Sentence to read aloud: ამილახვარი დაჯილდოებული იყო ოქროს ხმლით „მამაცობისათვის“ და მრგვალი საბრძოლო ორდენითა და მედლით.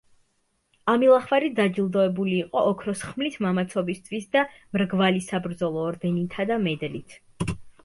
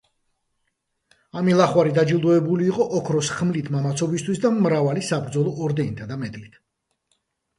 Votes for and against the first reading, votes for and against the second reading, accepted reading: 0, 2, 2, 1, second